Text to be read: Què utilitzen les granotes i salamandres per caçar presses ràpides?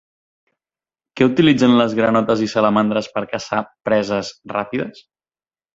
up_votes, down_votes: 2, 0